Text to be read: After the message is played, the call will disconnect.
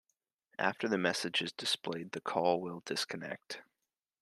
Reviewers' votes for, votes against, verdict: 2, 3, rejected